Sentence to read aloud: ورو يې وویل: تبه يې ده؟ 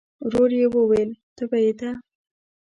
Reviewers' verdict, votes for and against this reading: rejected, 0, 2